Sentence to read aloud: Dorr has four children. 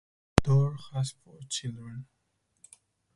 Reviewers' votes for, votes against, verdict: 4, 2, accepted